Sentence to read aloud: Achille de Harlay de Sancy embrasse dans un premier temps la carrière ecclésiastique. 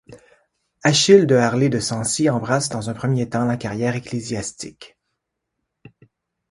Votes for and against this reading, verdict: 2, 0, accepted